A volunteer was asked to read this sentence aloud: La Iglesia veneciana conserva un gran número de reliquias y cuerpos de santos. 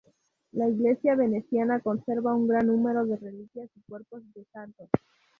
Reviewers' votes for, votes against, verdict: 2, 2, rejected